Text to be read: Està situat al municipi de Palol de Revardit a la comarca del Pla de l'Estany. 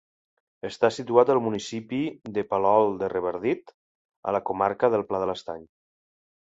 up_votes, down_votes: 2, 0